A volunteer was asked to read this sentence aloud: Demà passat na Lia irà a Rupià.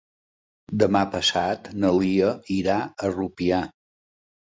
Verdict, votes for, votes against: accepted, 3, 0